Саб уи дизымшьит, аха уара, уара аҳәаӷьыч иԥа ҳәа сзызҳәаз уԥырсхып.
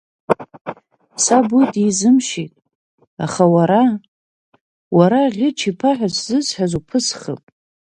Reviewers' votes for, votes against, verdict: 1, 2, rejected